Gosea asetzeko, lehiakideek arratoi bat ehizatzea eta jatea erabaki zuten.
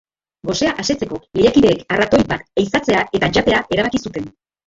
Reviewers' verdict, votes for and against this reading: rejected, 1, 2